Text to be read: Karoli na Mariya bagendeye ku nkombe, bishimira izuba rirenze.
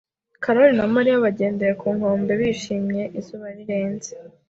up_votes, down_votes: 2, 0